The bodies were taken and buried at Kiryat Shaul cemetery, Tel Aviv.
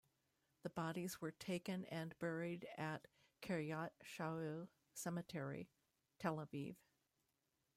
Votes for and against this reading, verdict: 1, 3, rejected